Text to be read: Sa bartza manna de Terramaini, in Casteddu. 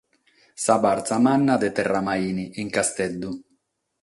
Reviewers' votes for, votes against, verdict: 6, 0, accepted